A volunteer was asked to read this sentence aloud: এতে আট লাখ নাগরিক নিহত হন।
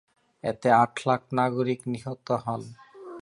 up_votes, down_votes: 0, 2